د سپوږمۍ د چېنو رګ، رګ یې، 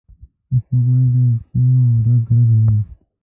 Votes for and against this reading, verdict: 0, 2, rejected